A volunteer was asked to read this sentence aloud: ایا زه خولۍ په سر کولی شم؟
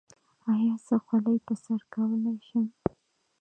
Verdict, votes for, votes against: accepted, 2, 0